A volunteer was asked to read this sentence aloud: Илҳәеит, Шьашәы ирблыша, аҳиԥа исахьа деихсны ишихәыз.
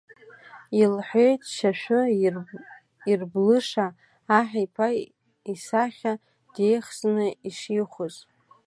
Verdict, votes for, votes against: rejected, 1, 2